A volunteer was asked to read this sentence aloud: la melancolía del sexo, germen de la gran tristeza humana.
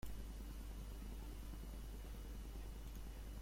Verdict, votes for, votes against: rejected, 0, 2